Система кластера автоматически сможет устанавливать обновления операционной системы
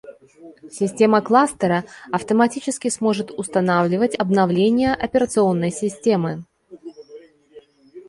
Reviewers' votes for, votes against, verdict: 1, 2, rejected